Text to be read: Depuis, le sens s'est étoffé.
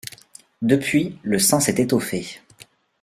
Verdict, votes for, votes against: rejected, 0, 2